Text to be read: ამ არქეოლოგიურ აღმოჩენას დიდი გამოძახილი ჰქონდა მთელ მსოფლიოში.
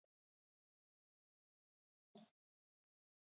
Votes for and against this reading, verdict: 0, 2, rejected